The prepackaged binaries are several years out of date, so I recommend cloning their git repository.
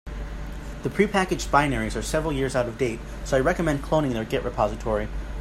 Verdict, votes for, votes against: accepted, 2, 0